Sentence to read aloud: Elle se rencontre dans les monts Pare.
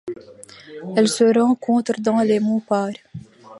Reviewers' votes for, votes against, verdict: 2, 0, accepted